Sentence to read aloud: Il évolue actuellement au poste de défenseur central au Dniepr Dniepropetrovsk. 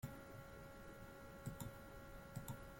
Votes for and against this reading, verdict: 0, 2, rejected